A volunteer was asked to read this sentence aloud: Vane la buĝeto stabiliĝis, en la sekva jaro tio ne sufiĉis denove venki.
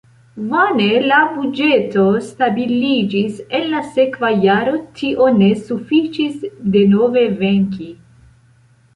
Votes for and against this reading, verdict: 2, 1, accepted